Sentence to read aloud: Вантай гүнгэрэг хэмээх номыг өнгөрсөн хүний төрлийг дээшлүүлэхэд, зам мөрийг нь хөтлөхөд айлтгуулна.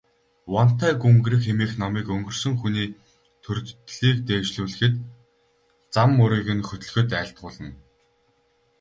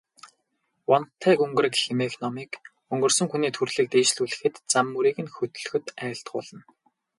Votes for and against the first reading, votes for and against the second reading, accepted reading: 0, 4, 4, 0, second